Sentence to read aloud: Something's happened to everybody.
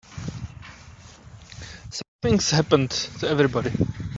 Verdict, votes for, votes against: rejected, 0, 2